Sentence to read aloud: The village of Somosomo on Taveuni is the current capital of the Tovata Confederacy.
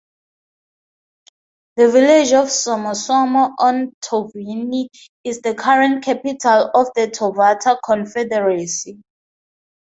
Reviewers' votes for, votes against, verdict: 4, 0, accepted